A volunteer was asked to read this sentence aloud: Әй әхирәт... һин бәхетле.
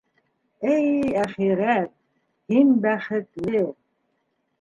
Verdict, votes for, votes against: rejected, 0, 2